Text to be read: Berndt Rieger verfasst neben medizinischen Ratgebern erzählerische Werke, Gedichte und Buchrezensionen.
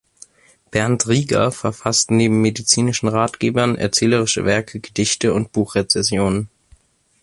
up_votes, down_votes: 2, 1